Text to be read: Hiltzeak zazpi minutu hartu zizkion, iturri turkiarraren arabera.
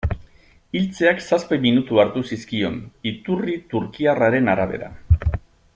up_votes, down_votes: 2, 0